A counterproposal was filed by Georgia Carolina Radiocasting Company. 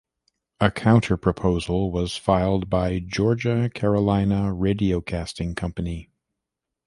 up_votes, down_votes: 2, 0